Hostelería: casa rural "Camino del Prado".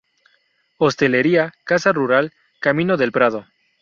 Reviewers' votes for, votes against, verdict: 2, 0, accepted